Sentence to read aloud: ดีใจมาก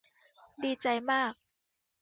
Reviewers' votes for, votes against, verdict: 2, 0, accepted